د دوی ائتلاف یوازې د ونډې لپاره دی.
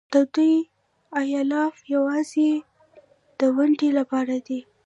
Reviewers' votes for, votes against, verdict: 1, 2, rejected